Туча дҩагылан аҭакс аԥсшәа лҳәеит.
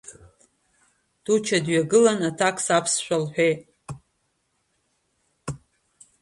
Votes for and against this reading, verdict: 2, 1, accepted